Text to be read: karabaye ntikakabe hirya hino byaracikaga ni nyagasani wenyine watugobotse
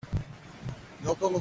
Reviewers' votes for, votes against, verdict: 0, 2, rejected